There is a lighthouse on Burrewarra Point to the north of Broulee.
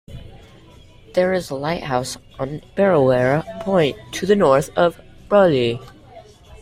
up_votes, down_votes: 2, 0